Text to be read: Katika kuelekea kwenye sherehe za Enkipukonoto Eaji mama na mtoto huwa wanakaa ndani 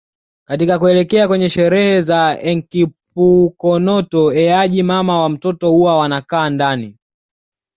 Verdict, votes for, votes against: accepted, 2, 0